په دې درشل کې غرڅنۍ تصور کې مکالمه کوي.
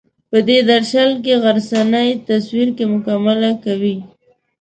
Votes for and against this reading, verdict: 1, 2, rejected